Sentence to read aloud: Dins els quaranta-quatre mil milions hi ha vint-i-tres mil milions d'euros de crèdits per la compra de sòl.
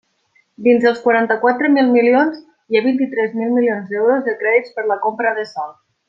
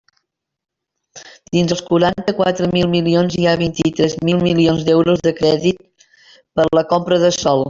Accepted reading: first